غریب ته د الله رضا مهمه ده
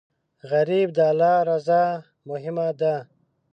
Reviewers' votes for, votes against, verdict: 0, 2, rejected